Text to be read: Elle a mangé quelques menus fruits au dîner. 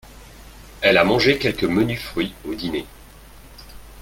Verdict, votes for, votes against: accepted, 2, 1